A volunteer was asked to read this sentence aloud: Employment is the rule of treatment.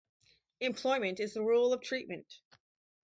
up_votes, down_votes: 2, 2